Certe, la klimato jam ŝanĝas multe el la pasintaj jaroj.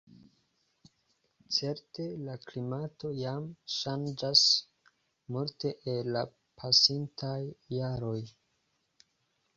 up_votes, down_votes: 2, 0